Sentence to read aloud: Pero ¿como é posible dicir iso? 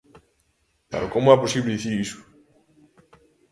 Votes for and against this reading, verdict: 2, 0, accepted